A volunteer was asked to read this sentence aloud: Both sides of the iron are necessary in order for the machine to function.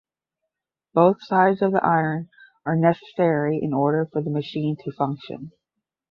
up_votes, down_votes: 5, 0